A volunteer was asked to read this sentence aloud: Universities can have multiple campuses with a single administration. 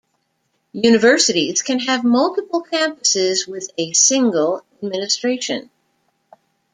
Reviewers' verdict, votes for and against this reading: accepted, 2, 0